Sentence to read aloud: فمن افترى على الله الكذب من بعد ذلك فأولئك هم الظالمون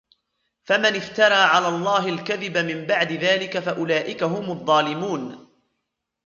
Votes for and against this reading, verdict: 1, 2, rejected